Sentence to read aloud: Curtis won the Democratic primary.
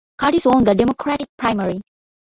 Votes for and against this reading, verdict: 2, 0, accepted